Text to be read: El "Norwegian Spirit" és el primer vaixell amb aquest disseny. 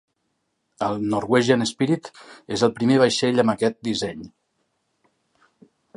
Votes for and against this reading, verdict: 3, 0, accepted